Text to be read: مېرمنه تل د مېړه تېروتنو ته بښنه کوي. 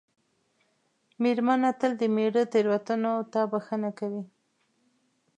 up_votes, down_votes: 2, 0